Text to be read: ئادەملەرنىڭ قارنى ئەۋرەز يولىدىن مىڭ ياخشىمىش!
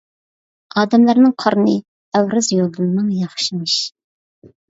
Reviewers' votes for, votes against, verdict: 2, 0, accepted